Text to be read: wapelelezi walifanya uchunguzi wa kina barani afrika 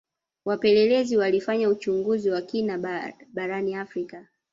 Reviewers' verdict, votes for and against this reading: accepted, 2, 1